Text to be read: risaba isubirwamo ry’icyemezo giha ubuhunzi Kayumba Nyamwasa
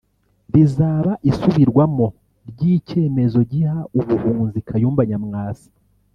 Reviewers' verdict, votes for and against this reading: rejected, 1, 2